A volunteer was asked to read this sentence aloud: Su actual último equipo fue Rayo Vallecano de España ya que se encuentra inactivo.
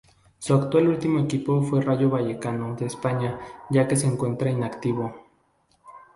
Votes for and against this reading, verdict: 0, 2, rejected